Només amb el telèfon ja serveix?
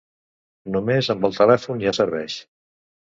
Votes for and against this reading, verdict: 0, 2, rejected